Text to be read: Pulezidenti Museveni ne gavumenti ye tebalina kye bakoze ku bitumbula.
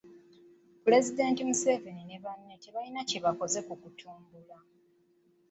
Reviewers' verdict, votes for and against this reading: rejected, 0, 2